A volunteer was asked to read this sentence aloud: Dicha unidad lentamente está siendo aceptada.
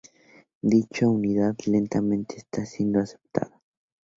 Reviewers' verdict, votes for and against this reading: rejected, 2, 2